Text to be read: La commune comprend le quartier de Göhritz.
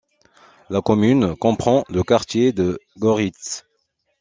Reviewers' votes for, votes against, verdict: 2, 0, accepted